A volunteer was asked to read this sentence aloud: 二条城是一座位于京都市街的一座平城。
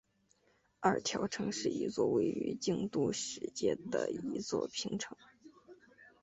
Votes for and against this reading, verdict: 2, 0, accepted